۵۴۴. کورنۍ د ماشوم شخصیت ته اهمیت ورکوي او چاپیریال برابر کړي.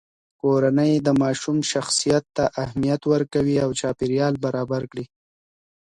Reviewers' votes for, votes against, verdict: 0, 2, rejected